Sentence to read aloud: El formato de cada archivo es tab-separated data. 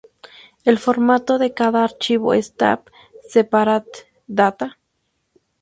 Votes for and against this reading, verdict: 0, 2, rejected